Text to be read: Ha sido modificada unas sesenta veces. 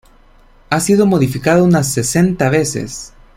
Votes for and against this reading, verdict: 2, 1, accepted